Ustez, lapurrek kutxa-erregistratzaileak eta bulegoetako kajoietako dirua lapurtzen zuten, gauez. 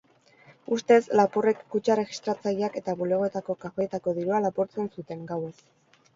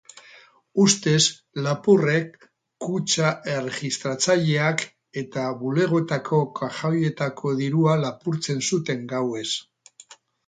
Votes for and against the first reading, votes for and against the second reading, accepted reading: 4, 0, 0, 4, first